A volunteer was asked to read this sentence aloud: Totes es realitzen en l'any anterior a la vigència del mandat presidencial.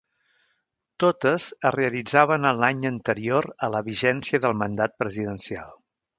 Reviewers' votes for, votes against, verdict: 0, 2, rejected